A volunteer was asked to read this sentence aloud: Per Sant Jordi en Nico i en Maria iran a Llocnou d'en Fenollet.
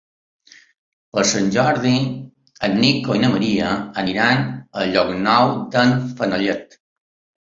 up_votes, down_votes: 0, 2